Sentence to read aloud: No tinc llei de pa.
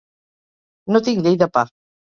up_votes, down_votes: 2, 0